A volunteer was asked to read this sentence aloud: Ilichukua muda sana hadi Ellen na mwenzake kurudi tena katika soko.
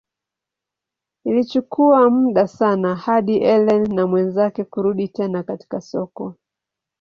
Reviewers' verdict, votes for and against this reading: accepted, 2, 0